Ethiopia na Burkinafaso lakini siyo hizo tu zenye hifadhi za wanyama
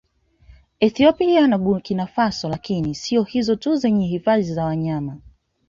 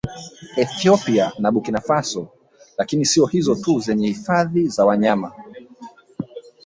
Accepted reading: first